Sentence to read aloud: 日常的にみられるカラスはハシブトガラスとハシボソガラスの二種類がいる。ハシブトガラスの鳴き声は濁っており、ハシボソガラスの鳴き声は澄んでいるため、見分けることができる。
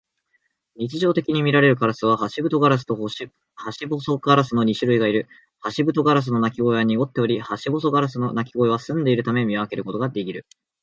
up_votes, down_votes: 1, 2